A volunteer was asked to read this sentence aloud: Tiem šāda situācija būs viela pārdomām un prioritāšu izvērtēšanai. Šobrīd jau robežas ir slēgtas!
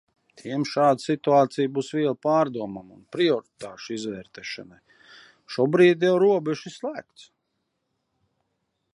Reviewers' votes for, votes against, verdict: 0, 2, rejected